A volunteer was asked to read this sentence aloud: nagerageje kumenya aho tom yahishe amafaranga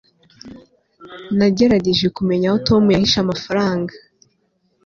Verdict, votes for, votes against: accepted, 2, 0